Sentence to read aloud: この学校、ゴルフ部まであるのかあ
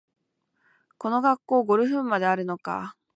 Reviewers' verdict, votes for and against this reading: accepted, 2, 0